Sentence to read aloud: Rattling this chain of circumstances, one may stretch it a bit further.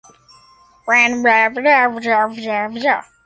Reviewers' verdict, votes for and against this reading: rejected, 0, 2